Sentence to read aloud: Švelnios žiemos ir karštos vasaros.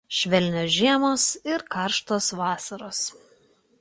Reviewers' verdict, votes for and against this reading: accepted, 2, 0